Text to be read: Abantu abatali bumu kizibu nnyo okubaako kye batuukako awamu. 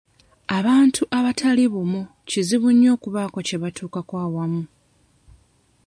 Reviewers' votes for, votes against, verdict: 2, 0, accepted